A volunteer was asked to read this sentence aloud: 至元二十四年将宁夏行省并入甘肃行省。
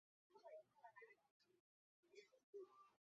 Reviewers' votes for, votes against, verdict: 0, 5, rejected